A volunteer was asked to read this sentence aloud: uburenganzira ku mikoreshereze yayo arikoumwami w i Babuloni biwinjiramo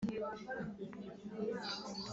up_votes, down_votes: 0, 3